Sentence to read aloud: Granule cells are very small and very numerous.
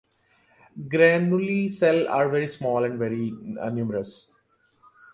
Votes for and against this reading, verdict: 0, 2, rejected